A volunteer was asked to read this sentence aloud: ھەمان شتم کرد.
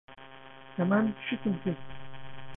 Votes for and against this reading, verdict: 0, 2, rejected